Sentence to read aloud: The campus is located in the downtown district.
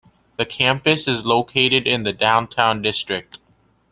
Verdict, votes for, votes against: accepted, 2, 0